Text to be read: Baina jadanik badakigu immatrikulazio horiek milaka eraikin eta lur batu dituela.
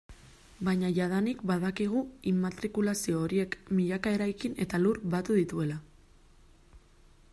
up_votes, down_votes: 2, 0